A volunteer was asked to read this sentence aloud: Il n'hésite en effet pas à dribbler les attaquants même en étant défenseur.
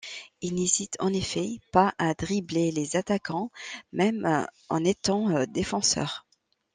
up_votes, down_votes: 1, 2